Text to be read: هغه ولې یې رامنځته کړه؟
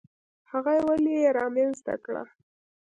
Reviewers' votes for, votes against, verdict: 1, 2, rejected